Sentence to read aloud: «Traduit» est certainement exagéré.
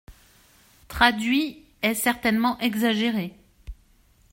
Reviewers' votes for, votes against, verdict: 2, 0, accepted